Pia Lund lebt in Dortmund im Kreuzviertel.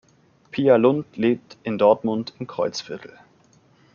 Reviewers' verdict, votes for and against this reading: accepted, 2, 0